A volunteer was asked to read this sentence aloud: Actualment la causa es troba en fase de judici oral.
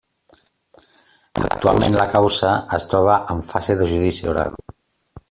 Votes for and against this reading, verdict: 1, 2, rejected